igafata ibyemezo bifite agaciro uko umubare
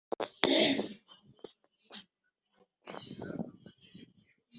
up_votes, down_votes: 0, 3